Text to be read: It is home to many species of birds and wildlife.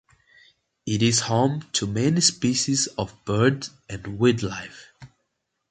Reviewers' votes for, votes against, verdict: 0, 2, rejected